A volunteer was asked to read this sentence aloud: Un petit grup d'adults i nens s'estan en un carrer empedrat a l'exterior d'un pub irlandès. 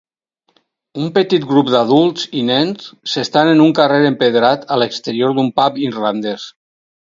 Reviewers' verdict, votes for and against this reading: accepted, 4, 0